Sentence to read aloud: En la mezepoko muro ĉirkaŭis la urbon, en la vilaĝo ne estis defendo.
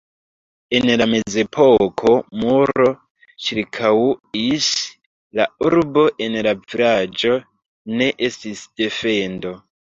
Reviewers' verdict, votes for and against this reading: rejected, 0, 2